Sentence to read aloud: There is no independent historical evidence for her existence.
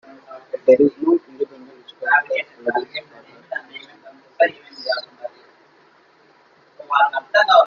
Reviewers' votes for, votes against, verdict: 0, 2, rejected